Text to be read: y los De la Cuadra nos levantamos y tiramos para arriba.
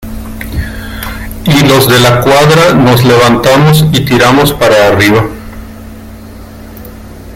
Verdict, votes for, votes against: accepted, 2, 1